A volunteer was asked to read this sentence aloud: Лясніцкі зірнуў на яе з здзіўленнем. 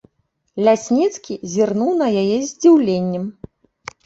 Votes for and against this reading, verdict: 2, 0, accepted